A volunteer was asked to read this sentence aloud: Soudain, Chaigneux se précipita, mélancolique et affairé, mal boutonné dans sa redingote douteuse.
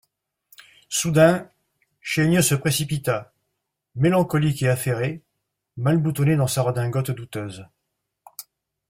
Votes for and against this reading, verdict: 2, 0, accepted